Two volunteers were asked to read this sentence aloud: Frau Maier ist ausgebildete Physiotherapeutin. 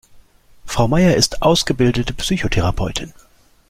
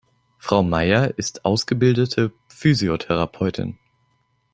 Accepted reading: second